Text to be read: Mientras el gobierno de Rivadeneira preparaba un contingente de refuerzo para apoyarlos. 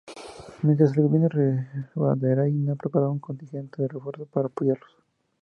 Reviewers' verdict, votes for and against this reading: rejected, 0, 2